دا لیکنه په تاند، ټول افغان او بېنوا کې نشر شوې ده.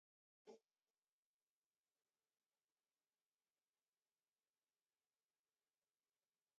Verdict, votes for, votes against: rejected, 1, 2